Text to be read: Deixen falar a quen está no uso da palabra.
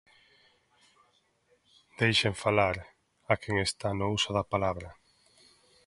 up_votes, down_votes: 2, 0